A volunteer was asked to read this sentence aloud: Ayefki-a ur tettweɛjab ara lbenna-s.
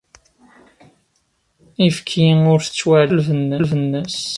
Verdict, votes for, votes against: rejected, 2, 3